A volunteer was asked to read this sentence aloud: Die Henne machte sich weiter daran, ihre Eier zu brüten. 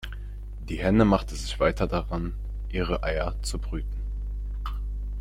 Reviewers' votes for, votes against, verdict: 2, 1, accepted